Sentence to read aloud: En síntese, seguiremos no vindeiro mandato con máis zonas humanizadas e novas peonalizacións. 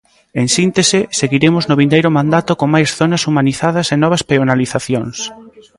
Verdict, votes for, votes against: rejected, 0, 2